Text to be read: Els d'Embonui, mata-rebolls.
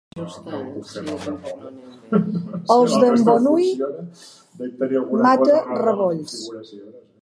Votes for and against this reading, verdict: 1, 2, rejected